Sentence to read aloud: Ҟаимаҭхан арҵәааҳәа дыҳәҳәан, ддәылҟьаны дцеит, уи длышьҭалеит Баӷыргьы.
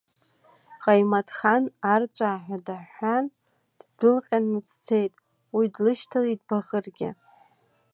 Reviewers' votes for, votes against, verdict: 1, 2, rejected